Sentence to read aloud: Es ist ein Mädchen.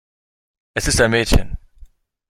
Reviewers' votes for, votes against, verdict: 3, 1, accepted